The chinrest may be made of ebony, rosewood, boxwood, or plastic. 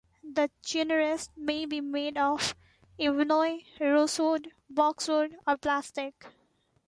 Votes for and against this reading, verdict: 1, 3, rejected